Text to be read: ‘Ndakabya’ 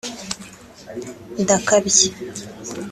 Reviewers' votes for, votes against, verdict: 2, 0, accepted